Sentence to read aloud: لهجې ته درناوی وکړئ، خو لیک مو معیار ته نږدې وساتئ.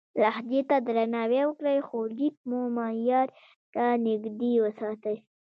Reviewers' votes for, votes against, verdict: 1, 2, rejected